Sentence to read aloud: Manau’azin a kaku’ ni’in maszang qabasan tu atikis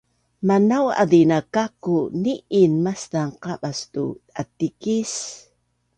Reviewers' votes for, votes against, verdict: 2, 0, accepted